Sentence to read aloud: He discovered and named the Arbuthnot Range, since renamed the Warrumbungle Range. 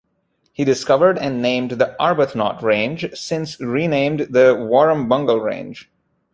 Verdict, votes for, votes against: accepted, 2, 0